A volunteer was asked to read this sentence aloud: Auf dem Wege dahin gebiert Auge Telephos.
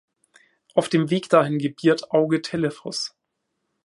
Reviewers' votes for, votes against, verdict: 1, 2, rejected